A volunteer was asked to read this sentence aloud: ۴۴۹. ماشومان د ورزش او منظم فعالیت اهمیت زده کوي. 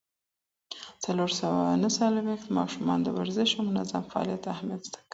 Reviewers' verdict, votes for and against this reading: rejected, 0, 2